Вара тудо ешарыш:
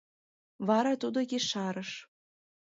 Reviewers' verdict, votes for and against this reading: rejected, 1, 2